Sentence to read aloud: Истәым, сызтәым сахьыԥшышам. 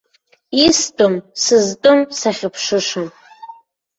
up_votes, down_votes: 0, 2